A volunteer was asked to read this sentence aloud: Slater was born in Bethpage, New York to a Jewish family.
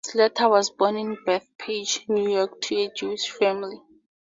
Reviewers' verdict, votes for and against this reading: accepted, 2, 0